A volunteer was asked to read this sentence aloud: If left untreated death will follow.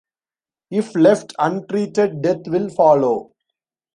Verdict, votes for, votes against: accepted, 2, 0